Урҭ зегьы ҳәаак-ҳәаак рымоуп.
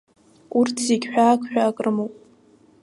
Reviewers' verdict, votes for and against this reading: accepted, 2, 0